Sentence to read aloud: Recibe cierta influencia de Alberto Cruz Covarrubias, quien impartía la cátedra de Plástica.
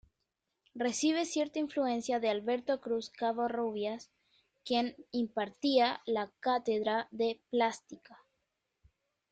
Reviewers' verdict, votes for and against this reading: rejected, 0, 2